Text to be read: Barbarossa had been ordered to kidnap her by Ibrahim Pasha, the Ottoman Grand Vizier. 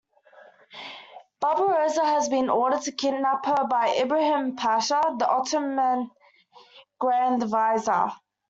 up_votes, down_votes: 2, 1